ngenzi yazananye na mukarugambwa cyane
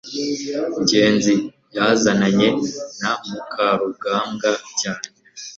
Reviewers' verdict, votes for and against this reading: accepted, 2, 0